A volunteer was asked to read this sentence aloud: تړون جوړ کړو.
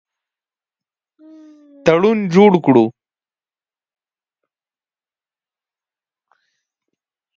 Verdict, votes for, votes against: rejected, 0, 2